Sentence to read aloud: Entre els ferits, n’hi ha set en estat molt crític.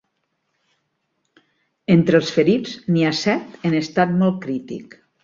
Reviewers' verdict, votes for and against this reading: accepted, 2, 0